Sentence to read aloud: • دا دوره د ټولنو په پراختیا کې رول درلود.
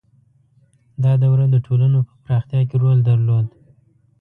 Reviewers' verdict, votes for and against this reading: rejected, 0, 2